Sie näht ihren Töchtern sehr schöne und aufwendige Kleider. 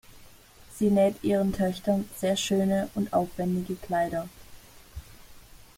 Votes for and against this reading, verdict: 2, 0, accepted